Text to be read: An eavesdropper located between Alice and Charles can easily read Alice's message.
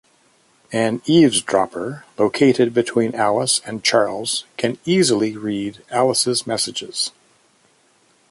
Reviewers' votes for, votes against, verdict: 0, 2, rejected